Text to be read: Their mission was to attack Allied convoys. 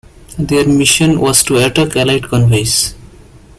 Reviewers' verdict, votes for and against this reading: rejected, 1, 2